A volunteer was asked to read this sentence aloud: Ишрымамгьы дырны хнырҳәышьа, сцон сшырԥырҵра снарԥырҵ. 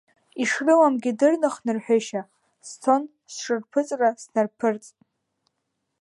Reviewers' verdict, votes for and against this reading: accepted, 2, 1